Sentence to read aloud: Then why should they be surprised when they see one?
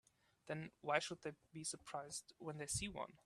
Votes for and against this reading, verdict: 1, 2, rejected